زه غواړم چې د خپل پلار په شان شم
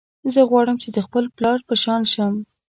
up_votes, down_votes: 2, 0